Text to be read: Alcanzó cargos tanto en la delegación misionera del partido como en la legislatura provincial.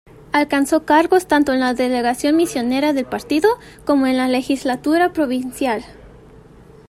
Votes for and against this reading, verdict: 2, 1, accepted